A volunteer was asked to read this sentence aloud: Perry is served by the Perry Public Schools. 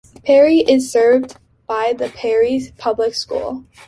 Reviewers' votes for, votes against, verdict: 1, 3, rejected